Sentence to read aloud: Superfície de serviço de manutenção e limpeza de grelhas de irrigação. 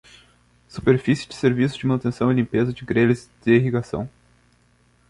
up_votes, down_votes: 2, 0